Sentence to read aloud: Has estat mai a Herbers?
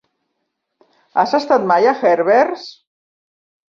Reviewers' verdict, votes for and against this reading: rejected, 1, 2